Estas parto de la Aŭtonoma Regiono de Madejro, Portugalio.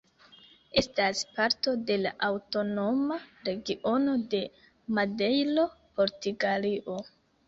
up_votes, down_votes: 1, 2